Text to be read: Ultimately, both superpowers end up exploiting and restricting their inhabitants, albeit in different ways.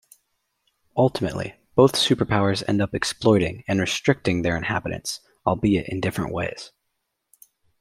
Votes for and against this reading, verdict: 2, 0, accepted